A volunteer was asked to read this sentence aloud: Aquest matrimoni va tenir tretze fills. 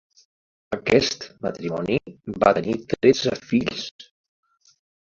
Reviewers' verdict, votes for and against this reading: rejected, 0, 2